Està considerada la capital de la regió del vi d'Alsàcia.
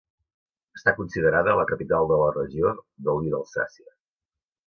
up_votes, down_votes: 2, 0